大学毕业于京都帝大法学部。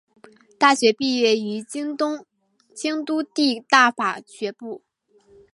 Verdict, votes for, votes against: rejected, 1, 2